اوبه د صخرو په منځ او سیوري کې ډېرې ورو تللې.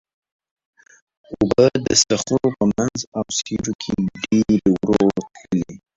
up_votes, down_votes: 0, 2